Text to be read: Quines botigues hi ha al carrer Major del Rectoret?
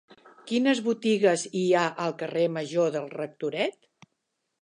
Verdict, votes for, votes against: accepted, 4, 0